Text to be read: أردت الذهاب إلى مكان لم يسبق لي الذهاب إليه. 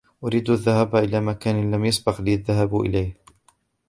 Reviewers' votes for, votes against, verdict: 0, 2, rejected